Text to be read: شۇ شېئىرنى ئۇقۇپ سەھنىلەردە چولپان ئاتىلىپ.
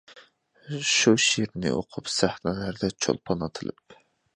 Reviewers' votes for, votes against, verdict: 2, 1, accepted